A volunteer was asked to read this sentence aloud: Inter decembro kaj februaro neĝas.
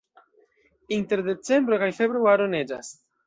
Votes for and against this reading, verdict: 1, 2, rejected